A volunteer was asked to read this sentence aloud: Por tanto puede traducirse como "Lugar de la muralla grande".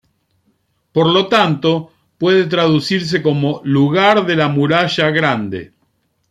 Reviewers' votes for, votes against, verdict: 0, 2, rejected